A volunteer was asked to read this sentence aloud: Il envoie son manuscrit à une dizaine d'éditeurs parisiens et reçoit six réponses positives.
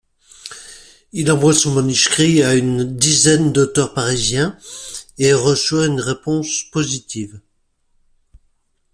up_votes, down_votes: 1, 2